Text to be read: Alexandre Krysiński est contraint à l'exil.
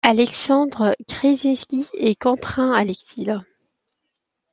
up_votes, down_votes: 2, 0